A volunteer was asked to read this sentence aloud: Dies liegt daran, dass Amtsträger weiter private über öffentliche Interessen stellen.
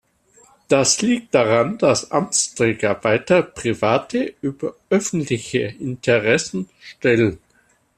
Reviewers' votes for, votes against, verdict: 0, 2, rejected